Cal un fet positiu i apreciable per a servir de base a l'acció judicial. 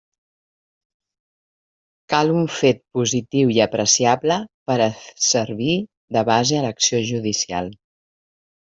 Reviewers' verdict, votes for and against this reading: rejected, 1, 2